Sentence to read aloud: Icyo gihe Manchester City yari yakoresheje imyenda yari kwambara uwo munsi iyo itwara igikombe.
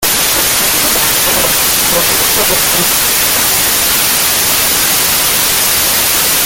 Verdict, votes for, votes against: rejected, 0, 2